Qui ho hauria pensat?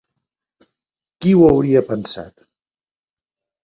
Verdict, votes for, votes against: accepted, 4, 0